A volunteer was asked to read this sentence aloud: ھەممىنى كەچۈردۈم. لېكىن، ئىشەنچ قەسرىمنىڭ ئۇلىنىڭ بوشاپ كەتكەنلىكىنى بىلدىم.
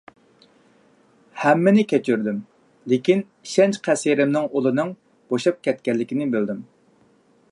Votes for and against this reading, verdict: 2, 0, accepted